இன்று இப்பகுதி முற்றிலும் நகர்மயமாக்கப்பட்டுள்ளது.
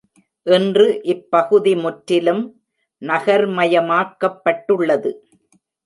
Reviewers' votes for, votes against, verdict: 0, 2, rejected